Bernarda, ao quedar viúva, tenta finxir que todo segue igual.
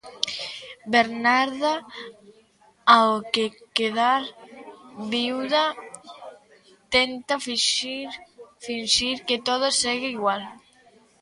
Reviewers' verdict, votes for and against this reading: rejected, 0, 2